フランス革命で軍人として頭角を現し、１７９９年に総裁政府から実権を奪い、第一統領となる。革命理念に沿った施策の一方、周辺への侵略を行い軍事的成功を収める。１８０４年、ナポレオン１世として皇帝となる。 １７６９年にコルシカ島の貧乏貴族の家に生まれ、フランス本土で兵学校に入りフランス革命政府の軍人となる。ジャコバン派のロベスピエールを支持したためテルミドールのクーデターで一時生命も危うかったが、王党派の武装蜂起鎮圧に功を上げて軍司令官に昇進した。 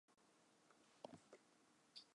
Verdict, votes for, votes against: rejected, 0, 2